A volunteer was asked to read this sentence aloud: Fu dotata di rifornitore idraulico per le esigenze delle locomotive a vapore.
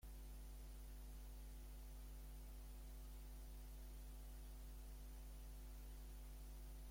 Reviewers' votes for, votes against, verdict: 0, 2, rejected